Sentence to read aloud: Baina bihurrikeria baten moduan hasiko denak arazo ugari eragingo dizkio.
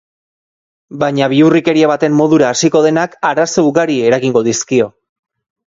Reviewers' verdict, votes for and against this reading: rejected, 0, 2